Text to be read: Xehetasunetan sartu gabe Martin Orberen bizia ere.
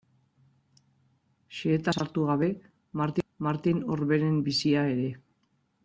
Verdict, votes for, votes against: rejected, 0, 2